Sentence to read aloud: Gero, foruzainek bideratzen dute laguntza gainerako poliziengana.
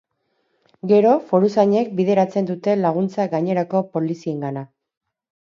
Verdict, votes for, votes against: accepted, 6, 0